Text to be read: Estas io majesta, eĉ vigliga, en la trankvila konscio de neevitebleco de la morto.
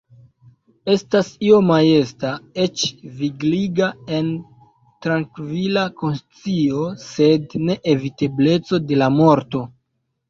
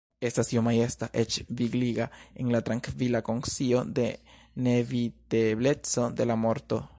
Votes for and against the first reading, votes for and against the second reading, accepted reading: 2, 0, 1, 2, first